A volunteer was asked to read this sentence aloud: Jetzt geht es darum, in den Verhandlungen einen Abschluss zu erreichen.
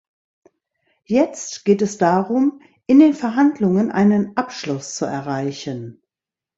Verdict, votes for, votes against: accepted, 2, 1